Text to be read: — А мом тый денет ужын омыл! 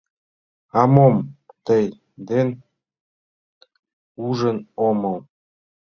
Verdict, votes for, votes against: rejected, 0, 2